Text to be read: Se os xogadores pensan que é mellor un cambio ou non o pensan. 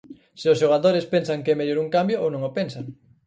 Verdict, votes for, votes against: accepted, 4, 0